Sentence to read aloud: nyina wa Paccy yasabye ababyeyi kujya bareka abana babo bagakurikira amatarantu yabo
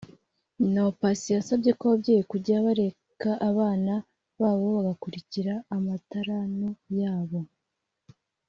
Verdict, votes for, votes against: rejected, 1, 2